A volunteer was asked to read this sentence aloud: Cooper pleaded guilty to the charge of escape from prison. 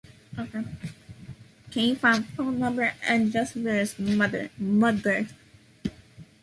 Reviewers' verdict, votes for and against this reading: rejected, 0, 2